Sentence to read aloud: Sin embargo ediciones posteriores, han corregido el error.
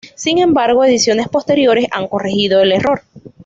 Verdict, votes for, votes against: accepted, 2, 0